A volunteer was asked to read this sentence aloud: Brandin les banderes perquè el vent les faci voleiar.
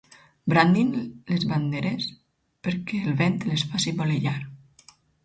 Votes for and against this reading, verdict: 4, 0, accepted